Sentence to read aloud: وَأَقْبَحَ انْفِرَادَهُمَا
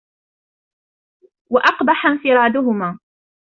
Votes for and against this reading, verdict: 2, 0, accepted